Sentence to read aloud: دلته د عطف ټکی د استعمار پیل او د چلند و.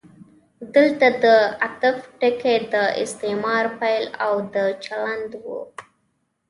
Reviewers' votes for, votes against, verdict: 2, 0, accepted